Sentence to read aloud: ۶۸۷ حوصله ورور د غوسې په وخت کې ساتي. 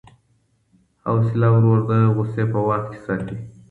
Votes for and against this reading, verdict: 0, 2, rejected